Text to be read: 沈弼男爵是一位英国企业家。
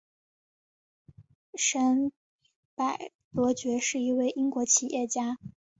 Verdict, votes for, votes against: rejected, 0, 2